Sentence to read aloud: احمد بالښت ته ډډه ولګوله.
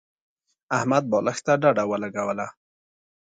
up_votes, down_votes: 2, 0